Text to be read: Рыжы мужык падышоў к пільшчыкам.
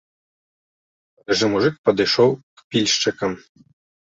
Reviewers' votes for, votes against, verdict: 2, 3, rejected